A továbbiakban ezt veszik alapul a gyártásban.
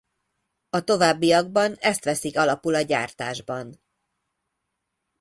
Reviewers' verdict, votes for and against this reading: accepted, 2, 0